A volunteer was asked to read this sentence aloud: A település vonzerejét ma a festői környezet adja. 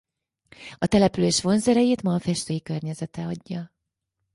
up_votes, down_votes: 2, 4